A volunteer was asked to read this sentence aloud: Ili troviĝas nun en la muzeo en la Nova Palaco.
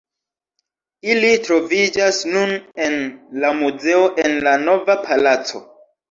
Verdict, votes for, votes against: rejected, 1, 2